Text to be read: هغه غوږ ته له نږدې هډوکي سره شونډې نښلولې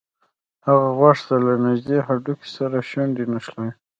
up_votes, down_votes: 1, 2